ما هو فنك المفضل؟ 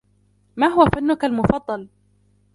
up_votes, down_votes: 1, 2